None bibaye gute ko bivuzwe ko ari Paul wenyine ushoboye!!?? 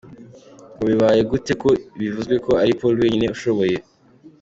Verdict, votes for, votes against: accepted, 2, 0